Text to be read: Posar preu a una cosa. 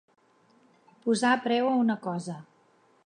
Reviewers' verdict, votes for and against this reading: accepted, 3, 0